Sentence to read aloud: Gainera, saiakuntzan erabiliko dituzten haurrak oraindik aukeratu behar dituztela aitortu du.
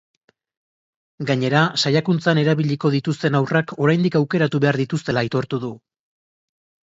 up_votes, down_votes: 3, 0